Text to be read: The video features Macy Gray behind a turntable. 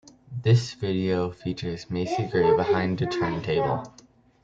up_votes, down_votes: 1, 2